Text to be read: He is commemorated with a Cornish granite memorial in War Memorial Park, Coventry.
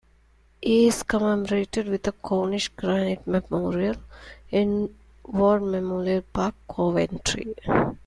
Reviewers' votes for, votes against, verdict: 0, 2, rejected